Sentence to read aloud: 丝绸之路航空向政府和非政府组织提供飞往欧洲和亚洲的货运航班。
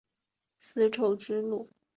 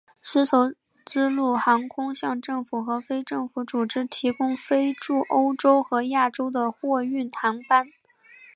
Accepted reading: second